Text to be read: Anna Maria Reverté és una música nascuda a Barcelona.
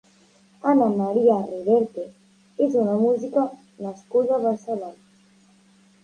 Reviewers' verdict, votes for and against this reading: rejected, 0, 2